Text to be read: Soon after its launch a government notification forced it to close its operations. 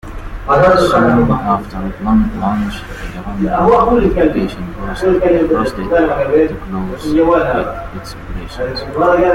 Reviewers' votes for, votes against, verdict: 0, 2, rejected